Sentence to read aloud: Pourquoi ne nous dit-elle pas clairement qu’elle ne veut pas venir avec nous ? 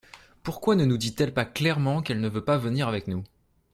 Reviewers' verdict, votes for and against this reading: accepted, 2, 0